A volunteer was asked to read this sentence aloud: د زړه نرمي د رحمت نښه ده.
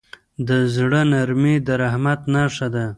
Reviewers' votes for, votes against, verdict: 1, 2, rejected